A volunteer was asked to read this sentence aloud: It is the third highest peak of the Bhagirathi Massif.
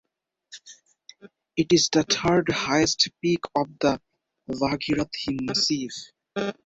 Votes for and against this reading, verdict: 4, 0, accepted